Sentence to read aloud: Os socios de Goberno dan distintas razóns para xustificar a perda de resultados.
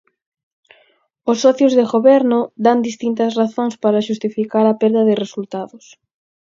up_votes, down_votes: 4, 0